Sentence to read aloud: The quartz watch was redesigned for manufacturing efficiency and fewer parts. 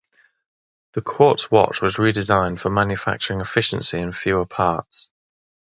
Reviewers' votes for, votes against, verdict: 3, 0, accepted